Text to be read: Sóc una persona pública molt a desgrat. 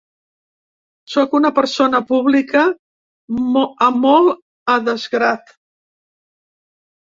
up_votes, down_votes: 1, 2